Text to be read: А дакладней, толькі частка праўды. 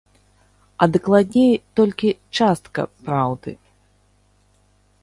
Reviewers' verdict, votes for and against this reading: accepted, 2, 0